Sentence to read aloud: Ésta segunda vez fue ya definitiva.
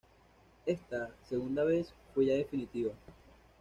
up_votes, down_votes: 1, 2